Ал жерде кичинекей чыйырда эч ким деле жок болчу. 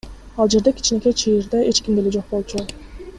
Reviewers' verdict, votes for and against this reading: accepted, 2, 0